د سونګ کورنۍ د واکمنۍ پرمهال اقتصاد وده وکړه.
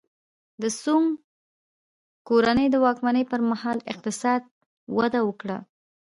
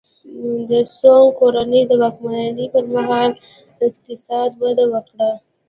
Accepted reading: second